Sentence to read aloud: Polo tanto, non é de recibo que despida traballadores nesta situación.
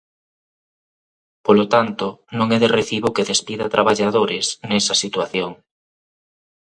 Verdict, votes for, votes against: rejected, 0, 3